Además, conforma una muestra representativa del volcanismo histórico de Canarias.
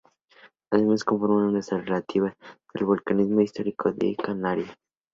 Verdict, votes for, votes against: rejected, 0, 2